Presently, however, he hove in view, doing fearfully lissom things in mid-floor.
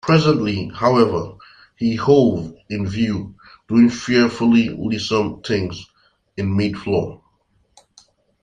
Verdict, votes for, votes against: accepted, 2, 0